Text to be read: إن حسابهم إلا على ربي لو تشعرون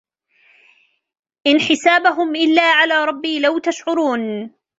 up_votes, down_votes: 0, 2